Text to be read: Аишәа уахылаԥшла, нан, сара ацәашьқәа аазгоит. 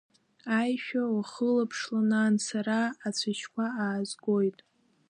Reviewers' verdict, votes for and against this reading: rejected, 0, 2